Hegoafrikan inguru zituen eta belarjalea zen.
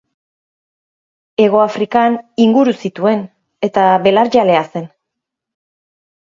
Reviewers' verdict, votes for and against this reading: accepted, 3, 0